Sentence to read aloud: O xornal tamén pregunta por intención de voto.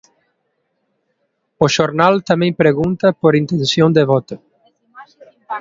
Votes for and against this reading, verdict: 2, 0, accepted